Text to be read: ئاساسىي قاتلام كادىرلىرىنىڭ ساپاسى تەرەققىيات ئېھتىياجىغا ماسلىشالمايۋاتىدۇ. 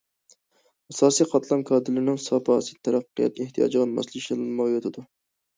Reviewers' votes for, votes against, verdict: 2, 0, accepted